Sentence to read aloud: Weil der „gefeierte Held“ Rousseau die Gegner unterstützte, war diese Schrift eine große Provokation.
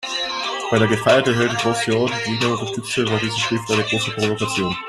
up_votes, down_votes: 1, 2